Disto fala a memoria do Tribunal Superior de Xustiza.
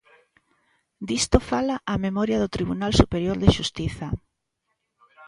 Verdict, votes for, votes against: accepted, 2, 1